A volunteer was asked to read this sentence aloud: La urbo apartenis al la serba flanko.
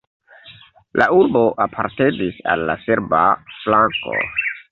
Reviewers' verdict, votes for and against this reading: accepted, 2, 1